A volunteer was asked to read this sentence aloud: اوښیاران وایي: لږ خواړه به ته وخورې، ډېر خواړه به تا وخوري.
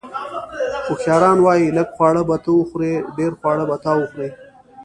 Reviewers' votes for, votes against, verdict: 0, 2, rejected